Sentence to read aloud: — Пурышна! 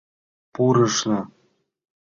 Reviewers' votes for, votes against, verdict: 3, 0, accepted